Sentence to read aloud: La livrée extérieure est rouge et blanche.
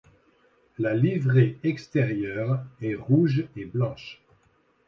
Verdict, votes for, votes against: accepted, 2, 0